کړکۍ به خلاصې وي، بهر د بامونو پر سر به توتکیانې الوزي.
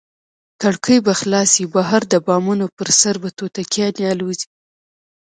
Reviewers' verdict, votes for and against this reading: accepted, 2, 0